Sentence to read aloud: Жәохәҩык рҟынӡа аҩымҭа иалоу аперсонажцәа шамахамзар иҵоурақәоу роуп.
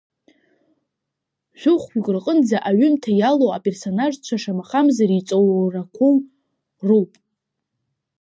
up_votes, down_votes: 1, 2